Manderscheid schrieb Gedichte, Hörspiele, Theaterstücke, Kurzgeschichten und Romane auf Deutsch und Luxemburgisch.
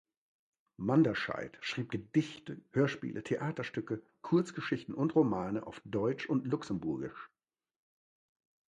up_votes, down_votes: 2, 0